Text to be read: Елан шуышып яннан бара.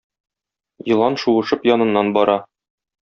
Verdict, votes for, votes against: rejected, 0, 2